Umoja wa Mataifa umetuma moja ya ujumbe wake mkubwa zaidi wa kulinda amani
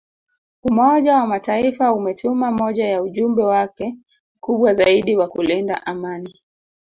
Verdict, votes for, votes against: rejected, 0, 2